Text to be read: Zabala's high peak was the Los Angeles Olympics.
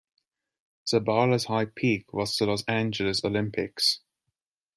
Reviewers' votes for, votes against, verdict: 2, 0, accepted